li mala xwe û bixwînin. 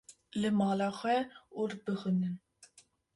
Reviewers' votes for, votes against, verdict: 1, 2, rejected